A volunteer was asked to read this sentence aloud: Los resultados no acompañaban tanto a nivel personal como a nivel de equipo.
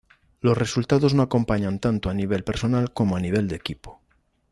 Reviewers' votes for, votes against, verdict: 0, 2, rejected